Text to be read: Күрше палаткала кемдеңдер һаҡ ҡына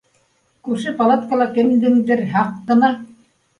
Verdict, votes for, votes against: accepted, 2, 0